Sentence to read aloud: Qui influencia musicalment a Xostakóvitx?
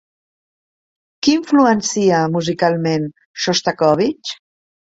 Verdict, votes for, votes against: rejected, 0, 2